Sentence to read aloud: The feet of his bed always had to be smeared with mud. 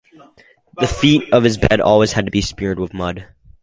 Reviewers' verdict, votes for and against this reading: accepted, 4, 0